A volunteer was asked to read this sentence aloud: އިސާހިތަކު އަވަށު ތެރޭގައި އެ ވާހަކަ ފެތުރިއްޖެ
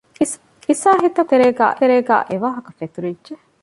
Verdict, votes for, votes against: rejected, 0, 2